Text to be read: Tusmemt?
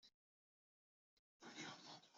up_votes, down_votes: 0, 2